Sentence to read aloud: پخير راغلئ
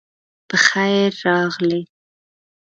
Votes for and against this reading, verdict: 2, 0, accepted